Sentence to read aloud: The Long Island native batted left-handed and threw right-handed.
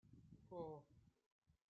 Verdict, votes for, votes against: rejected, 0, 2